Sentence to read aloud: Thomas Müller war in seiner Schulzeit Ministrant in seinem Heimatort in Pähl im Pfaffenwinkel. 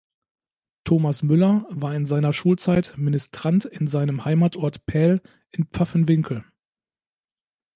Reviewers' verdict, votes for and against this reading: rejected, 1, 2